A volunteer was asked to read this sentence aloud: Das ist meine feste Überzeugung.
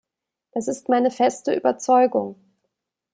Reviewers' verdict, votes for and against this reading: accepted, 2, 0